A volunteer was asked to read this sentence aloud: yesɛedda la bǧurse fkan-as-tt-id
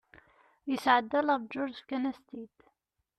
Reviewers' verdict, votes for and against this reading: rejected, 1, 2